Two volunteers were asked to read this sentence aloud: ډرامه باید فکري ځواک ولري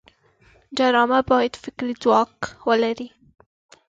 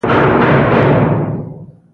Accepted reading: first